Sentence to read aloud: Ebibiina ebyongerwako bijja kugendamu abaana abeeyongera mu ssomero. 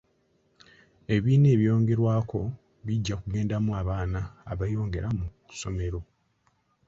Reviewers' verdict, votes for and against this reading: accepted, 2, 0